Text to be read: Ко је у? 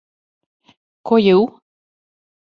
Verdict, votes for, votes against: accepted, 2, 0